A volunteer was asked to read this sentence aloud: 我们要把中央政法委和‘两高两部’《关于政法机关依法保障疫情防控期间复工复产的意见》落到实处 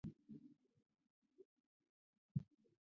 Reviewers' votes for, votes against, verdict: 0, 2, rejected